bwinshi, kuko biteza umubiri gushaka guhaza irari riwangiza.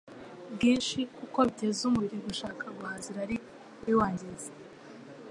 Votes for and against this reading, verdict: 2, 0, accepted